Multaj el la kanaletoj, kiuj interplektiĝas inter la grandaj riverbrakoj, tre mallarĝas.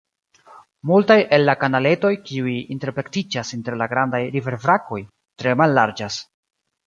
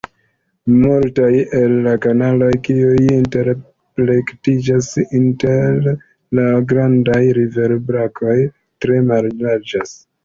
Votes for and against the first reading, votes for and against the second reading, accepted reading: 3, 0, 1, 3, first